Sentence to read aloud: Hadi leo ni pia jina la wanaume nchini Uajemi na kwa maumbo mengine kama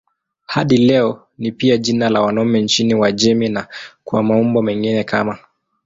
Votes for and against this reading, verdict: 1, 2, rejected